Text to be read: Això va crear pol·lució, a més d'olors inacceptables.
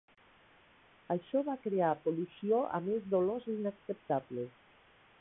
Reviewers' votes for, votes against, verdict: 1, 4, rejected